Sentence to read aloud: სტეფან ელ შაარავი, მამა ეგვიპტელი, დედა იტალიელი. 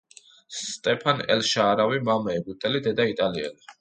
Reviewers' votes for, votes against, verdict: 2, 0, accepted